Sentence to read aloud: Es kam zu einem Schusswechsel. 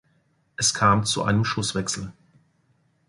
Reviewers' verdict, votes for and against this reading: accepted, 2, 0